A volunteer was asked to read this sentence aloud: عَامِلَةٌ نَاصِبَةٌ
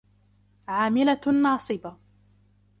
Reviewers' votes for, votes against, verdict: 0, 2, rejected